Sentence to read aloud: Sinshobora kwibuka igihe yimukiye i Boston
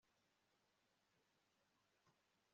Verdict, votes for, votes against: rejected, 1, 2